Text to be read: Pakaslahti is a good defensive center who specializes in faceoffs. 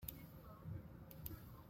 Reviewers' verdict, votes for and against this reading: rejected, 0, 3